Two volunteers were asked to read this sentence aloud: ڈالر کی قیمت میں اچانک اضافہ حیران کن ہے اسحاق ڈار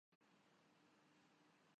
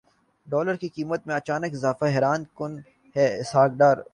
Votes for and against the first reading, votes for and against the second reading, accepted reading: 0, 2, 2, 1, second